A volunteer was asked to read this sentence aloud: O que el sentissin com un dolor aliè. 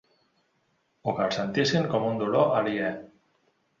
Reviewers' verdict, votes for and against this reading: accepted, 2, 0